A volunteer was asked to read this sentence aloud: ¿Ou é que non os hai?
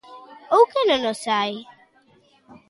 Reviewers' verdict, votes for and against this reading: rejected, 0, 2